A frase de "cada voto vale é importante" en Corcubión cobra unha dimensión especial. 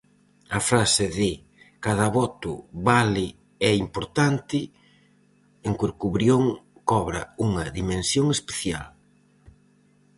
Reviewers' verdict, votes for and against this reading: rejected, 0, 4